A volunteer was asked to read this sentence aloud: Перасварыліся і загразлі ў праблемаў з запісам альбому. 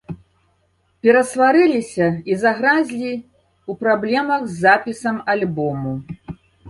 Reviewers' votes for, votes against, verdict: 1, 2, rejected